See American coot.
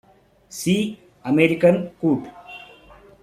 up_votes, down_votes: 2, 0